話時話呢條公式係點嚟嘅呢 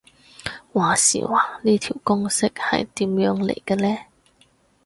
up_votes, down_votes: 2, 2